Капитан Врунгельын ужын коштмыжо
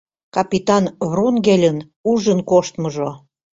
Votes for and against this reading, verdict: 2, 0, accepted